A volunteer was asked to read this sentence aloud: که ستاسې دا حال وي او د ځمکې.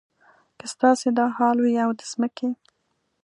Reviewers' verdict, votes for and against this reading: accepted, 2, 0